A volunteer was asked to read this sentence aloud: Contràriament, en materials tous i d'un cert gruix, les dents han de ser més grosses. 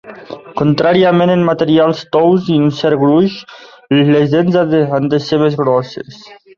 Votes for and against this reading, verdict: 1, 2, rejected